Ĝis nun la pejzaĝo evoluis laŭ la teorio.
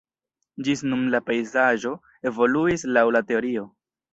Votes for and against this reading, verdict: 1, 2, rejected